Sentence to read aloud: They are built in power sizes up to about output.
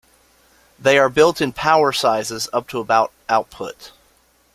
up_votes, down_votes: 2, 0